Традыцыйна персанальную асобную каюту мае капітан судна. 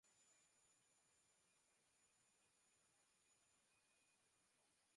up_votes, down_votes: 0, 2